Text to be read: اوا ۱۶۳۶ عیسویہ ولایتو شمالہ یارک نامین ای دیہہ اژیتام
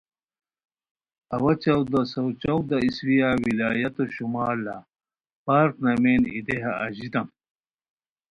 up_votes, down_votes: 0, 2